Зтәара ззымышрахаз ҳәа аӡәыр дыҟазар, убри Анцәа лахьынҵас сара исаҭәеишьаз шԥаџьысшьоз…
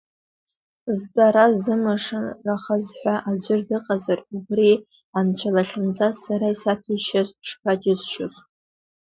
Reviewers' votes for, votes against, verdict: 1, 2, rejected